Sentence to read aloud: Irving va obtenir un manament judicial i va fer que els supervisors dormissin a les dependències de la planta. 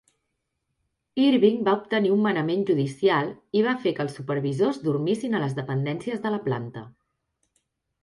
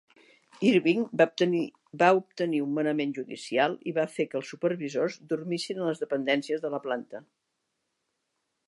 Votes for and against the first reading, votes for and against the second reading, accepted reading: 3, 0, 2, 4, first